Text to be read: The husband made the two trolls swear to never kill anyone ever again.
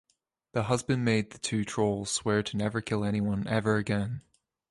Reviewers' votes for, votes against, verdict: 2, 0, accepted